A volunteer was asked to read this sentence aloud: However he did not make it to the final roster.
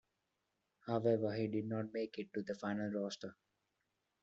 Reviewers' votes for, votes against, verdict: 2, 1, accepted